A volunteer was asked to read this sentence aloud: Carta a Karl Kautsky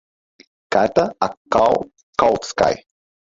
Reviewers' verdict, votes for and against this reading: rejected, 2, 2